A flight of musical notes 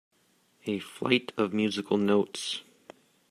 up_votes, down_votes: 1, 2